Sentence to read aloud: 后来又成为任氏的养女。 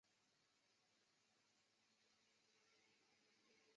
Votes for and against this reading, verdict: 0, 2, rejected